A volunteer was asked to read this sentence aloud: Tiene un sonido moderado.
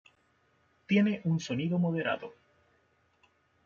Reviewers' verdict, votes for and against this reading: rejected, 0, 2